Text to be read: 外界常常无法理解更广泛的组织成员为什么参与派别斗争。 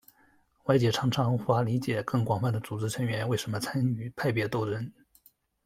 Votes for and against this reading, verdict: 2, 0, accepted